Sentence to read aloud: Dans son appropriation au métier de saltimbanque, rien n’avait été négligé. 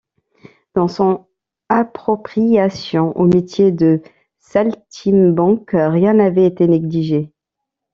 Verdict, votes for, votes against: rejected, 1, 2